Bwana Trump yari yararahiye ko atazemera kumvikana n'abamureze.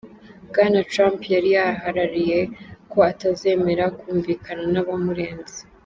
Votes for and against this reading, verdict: 1, 2, rejected